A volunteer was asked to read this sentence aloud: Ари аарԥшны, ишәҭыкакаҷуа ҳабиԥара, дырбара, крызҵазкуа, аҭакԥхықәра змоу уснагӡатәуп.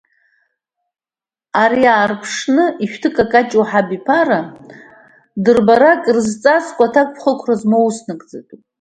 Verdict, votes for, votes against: accepted, 2, 0